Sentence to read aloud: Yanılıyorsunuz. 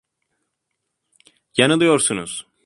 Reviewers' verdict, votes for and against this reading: accepted, 2, 0